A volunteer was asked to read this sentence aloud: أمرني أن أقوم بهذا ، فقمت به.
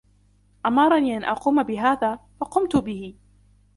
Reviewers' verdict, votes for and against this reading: accepted, 2, 0